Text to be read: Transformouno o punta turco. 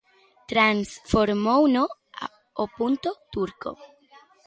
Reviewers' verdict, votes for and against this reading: rejected, 0, 2